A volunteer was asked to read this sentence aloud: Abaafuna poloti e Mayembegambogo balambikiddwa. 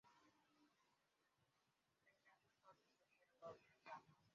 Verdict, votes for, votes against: rejected, 0, 2